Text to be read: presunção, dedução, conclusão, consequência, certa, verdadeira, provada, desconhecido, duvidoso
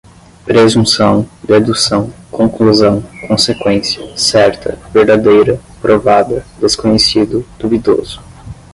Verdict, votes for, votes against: accepted, 5, 0